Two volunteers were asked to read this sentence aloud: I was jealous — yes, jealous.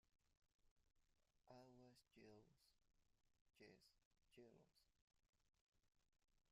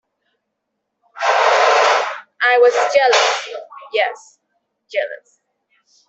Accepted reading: second